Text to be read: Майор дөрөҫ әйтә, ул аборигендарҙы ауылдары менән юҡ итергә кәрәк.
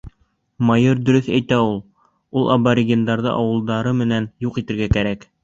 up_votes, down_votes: 1, 2